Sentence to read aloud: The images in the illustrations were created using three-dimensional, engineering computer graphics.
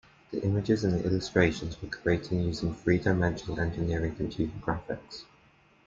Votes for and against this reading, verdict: 2, 1, accepted